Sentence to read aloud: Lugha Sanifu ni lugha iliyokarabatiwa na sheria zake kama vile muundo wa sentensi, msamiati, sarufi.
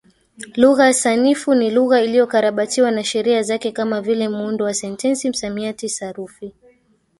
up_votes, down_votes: 1, 2